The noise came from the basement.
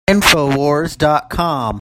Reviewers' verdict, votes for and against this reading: rejected, 0, 2